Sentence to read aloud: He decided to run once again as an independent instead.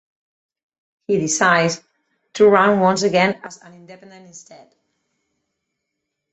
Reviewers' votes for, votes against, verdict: 4, 2, accepted